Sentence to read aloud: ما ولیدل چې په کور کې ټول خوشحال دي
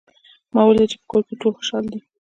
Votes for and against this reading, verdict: 2, 0, accepted